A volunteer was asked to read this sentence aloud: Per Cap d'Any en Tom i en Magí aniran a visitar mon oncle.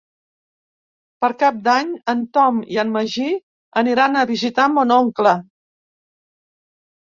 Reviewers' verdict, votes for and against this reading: accepted, 6, 0